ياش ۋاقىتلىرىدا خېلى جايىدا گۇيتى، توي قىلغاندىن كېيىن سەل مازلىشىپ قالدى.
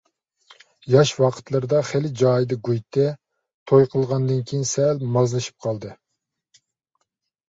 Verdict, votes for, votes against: accepted, 2, 0